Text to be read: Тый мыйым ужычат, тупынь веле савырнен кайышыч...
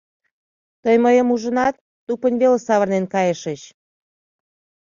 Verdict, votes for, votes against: rejected, 1, 2